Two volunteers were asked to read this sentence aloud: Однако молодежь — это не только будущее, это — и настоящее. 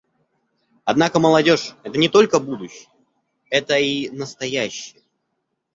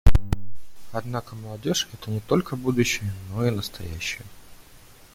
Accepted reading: first